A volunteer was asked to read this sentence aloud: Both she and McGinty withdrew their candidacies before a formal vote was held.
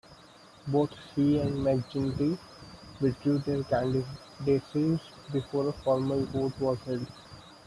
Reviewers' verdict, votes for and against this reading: accepted, 2, 1